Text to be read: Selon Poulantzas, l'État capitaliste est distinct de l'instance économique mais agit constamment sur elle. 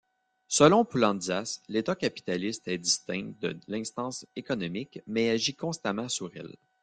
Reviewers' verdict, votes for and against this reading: accepted, 2, 0